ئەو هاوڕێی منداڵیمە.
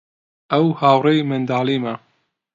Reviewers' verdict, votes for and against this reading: accepted, 2, 0